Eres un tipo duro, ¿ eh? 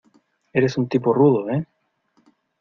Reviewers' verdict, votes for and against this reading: rejected, 0, 2